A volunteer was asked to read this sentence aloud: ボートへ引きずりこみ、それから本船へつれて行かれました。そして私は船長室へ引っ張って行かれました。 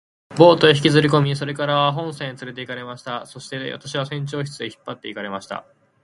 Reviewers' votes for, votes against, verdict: 4, 0, accepted